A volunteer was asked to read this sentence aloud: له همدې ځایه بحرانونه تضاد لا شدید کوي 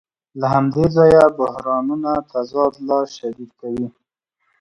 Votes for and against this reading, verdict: 2, 0, accepted